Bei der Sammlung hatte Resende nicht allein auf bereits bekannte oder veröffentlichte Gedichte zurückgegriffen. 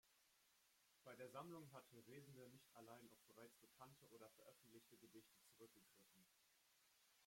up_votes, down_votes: 0, 2